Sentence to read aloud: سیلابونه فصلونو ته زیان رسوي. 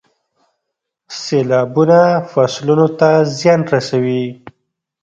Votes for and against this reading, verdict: 2, 0, accepted